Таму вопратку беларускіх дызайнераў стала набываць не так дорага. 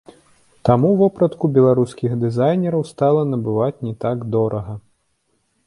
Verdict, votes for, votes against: accepted, 2, 0